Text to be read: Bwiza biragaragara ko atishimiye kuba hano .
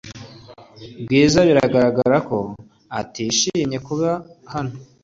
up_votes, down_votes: 3, 0